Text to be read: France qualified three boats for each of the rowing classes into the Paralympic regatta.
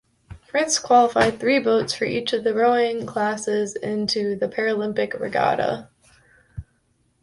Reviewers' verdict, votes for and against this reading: accepted, 3, 0